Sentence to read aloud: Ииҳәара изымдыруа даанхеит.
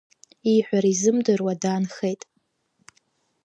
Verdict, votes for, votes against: accepted, 2, 0